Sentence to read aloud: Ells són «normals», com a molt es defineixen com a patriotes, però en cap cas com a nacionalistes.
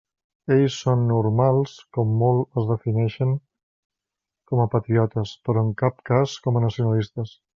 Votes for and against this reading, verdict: 0, 2, rejected